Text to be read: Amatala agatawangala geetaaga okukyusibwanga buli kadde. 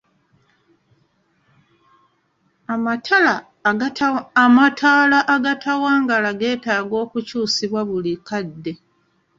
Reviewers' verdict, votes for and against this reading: rejected, 1, 2